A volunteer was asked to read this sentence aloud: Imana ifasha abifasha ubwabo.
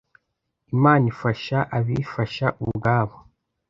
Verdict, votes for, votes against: accepted, 2, 0